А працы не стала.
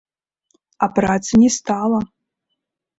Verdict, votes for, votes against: accepted, 2, 0